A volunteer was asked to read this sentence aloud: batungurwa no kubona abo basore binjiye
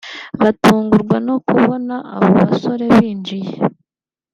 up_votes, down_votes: 2, 0